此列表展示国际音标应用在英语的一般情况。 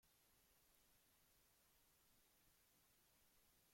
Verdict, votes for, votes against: rejected, 0, 2